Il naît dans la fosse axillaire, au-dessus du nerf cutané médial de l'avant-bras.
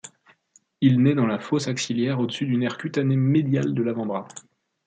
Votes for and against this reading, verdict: 2, 0, accepted